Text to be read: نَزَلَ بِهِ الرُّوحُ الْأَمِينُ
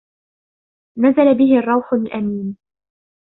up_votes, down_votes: 1, 2